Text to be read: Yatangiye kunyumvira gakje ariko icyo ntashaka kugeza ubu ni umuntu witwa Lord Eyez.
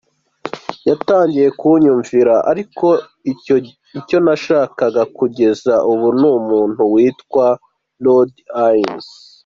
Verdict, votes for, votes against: rejected, 1, 2